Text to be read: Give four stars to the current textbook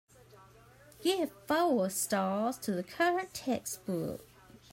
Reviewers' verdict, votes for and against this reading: accepted, 2, 1